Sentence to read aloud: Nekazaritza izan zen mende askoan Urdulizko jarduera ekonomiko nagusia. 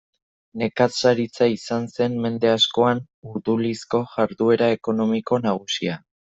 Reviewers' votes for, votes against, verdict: 1, 2, rejected